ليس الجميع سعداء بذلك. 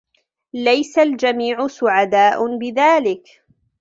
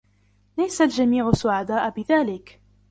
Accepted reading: first